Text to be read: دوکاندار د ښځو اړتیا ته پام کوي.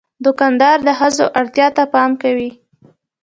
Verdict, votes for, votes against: accepted, 2, 0